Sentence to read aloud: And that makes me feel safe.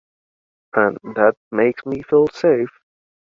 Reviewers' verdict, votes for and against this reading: accepted, 2, 0